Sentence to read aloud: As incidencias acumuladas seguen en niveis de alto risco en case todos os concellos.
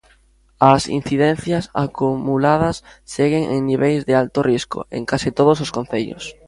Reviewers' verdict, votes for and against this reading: rejected, 2, 4